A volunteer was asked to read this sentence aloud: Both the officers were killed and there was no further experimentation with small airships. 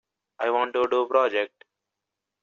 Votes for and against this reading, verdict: 0, 2, rejected